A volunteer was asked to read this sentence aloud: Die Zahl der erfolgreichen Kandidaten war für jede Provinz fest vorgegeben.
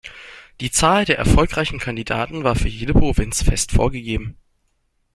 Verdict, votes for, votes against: accepted, 2, 0